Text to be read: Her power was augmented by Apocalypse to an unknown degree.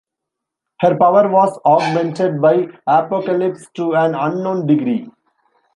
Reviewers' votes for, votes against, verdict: 2, 0, accepted